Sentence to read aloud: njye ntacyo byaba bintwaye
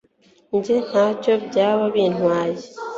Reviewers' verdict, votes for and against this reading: accepted, 2, 0